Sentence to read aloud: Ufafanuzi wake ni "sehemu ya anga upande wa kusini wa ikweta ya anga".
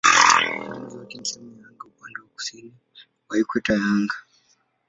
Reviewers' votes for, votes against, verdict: 0, 2, rejected